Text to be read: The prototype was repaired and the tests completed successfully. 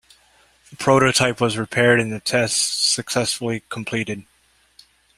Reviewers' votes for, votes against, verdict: 0, 2, rejected